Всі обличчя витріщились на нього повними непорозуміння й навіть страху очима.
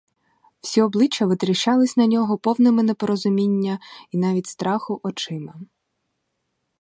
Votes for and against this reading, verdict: 0, 4, rejected